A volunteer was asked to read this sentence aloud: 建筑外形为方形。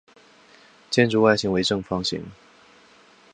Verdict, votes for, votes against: accepted, 5, 2